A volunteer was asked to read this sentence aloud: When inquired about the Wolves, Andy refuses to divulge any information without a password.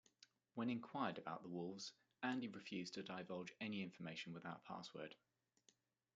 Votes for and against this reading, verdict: 0, 2, rejected